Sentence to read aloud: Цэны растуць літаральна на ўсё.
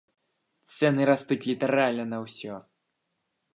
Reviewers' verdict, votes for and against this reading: accepted, 2, 0